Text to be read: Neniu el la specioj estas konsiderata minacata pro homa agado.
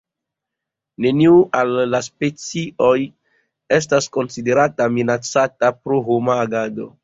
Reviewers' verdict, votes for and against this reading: rejected, 1, 2